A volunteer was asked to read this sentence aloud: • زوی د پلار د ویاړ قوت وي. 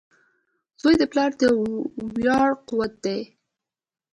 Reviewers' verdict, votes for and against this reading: accepted, 2, 0